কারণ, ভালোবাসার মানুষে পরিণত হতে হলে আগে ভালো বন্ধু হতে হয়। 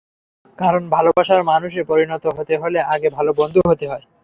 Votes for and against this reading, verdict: 0, 3, rejected